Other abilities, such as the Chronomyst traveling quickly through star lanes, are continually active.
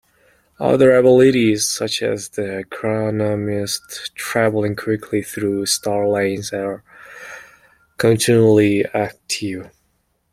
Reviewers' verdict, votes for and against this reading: accepted, 2, 0